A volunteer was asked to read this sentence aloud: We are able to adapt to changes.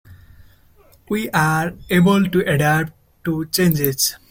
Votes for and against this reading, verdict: 2, 1, accepted